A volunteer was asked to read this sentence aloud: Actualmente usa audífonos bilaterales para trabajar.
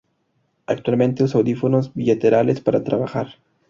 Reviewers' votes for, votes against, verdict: 2, 0, accepted